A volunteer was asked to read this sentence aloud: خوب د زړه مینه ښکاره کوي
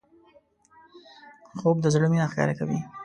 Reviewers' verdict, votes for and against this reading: accepted, 2, 0